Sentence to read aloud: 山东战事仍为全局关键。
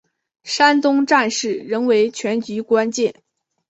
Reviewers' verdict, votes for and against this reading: accepted, 2, 0